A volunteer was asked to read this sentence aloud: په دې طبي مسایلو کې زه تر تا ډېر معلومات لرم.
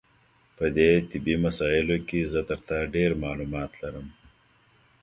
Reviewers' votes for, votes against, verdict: 2, 0, accepted